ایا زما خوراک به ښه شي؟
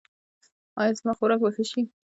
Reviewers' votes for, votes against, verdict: 2, 0, accepted